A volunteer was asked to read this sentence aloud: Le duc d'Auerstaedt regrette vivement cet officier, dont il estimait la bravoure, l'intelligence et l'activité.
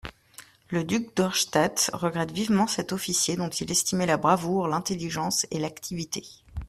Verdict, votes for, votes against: accepted, 2, 0